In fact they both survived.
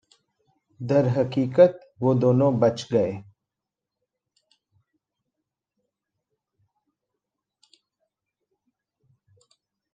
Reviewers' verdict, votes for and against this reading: rejected, 0, 2